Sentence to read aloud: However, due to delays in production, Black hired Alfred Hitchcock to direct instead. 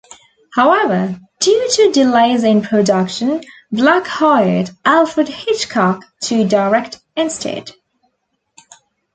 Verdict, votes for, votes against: accepted, 2, 0